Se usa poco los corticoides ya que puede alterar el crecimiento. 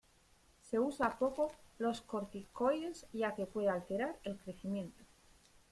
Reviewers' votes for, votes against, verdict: 2, 1, accepted